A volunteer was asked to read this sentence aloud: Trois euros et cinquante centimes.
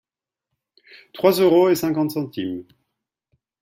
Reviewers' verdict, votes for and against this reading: accepted, 2, 0